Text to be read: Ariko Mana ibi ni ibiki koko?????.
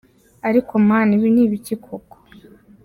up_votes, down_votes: 2, 0